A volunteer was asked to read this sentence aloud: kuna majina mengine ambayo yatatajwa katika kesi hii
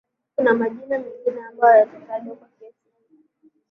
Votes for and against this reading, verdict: 6, 3, accepted